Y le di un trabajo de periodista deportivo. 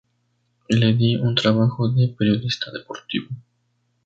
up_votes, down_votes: 0, 2